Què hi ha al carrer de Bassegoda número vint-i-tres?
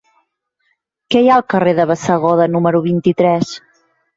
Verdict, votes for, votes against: accepted, 3, 0